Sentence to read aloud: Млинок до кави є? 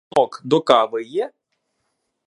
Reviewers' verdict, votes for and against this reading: rejected, 0, 2